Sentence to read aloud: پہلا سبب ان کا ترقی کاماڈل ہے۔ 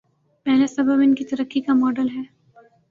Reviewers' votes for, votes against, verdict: 7, 0, accepted